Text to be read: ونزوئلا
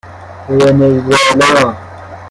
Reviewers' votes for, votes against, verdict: 0, 2, rejected